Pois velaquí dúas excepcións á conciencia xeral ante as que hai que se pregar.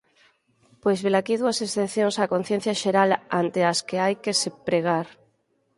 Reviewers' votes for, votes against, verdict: 6, 0, accepted